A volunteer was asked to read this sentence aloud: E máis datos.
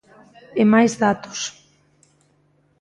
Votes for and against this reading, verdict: 1, 2, rejected